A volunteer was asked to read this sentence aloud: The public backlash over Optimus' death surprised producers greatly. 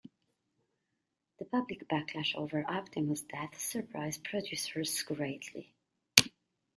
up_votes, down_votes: 2, 0